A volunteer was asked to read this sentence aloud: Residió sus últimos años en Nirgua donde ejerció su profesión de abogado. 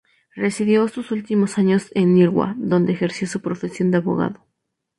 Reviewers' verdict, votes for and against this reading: rejected, 2, 2